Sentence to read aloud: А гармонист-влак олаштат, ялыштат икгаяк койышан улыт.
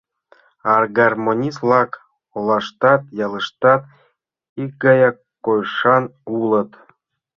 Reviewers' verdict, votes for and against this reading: accepted, 2, 0